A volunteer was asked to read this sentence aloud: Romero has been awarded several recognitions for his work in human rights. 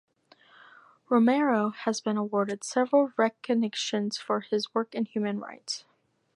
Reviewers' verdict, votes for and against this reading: rejected, 2, 4